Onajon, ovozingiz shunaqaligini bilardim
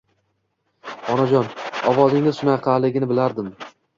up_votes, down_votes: 1, 2